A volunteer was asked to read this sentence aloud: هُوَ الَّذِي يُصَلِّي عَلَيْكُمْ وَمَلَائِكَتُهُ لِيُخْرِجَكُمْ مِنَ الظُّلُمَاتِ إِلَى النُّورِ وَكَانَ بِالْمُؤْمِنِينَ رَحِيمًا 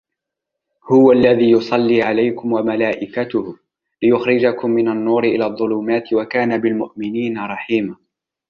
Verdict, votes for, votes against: rejected, 1, 2